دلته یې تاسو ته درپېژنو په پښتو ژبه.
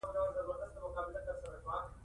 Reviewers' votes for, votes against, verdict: 2, 0, accepted